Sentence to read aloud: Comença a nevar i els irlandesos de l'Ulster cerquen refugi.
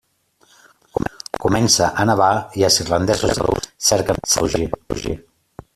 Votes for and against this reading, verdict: 0, 2, rejected